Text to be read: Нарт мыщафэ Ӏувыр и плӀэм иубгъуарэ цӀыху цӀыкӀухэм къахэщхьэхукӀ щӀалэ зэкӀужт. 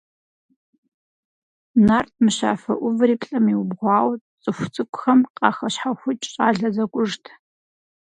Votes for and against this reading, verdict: 0, 4, rejected